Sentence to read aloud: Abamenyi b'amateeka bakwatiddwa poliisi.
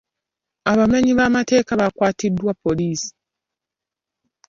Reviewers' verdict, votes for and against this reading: accepted, 2, 0